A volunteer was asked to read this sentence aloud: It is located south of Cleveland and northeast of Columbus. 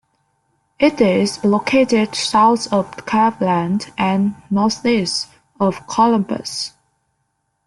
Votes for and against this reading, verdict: 0, 2, rejected